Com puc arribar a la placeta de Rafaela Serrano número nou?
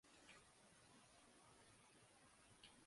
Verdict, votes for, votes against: rejected, 0, 2